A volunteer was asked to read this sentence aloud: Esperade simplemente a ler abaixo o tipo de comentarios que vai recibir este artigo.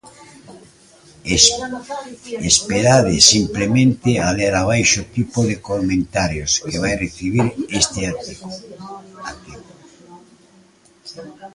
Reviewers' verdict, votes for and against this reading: rejected, 0, 2